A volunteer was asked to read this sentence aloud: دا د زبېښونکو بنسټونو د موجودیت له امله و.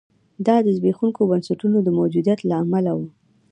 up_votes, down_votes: 1, 2